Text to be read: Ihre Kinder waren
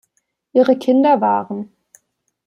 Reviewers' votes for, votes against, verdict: 2, 0, accepted